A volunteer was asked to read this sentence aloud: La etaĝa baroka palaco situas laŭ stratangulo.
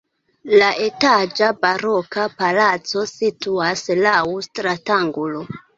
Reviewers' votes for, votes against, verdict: 0, 2, rejected